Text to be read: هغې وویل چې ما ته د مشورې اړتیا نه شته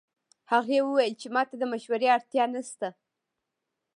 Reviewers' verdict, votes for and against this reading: accepted, 2, 0